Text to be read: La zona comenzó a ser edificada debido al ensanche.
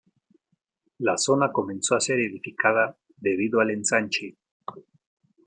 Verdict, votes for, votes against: accepted, 2, 0